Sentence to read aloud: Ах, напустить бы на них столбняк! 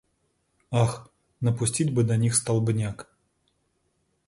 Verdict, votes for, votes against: accepted, 2, 0